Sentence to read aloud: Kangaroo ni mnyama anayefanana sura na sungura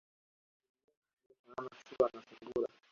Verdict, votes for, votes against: rejected, 0, 2